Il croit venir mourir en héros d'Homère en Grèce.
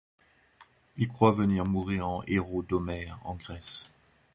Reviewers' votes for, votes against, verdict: 2, 0, accepted